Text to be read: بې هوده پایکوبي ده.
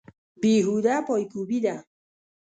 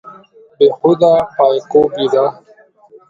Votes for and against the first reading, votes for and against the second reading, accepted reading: 0, 2, 2, 0, second